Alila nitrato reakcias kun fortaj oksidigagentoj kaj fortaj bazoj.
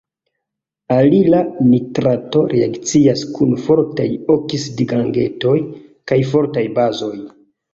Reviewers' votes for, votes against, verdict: 1, 3, rejected